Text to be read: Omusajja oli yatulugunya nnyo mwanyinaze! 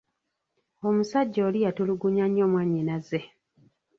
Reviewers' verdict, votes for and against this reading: rejected, 0, 2